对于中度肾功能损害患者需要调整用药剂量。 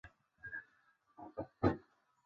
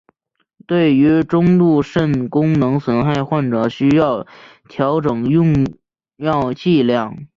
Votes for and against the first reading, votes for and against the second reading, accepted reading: 0, 4, 3, 0, second